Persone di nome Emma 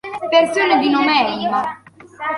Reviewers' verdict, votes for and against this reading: accepted, 2, 1